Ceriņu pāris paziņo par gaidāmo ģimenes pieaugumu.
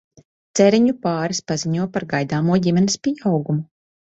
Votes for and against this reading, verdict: 2, 0, accepted